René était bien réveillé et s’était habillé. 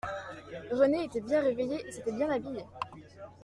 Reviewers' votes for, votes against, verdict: 0, 2, rejected